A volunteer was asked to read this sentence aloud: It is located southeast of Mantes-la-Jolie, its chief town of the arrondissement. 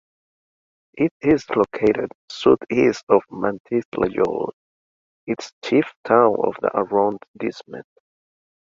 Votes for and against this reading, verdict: 2, 0, accepted